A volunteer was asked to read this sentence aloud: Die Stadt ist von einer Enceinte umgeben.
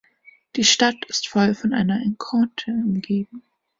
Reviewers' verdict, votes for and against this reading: rejected, 0, 2